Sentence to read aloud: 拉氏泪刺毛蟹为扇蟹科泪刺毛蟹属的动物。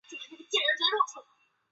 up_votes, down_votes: 0, 7